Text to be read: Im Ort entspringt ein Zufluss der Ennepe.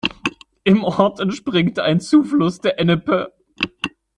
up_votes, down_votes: 0, 2